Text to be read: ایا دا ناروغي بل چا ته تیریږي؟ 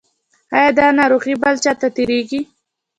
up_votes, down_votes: 2, 0